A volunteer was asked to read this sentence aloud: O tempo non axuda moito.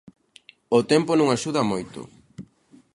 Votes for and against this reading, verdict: 2, 0, accepted